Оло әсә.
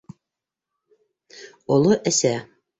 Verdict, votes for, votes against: rejected, 1, 2